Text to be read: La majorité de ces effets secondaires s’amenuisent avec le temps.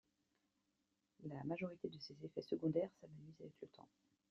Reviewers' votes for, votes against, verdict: 0, 2, rejected